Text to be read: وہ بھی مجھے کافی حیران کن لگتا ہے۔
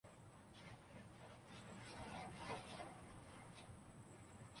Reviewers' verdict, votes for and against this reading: rejected, 0, 2